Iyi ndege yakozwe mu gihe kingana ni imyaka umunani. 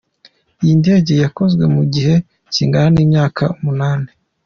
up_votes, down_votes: 2, 0